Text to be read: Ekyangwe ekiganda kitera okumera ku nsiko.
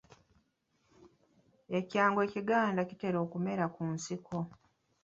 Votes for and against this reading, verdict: 1, 2, rejected